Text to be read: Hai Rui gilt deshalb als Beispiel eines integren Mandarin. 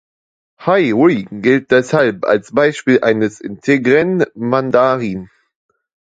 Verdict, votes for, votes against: rejected, 1, 2